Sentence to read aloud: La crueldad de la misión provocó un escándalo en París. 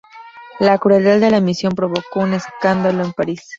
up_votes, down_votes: 2, 0